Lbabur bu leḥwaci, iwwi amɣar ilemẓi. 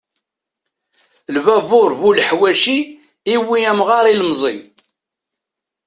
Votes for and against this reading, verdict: 0, 2, rejected